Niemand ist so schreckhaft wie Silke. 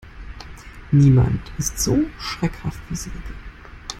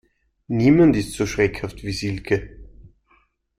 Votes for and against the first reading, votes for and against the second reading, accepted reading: 1, 2, 2, 0, second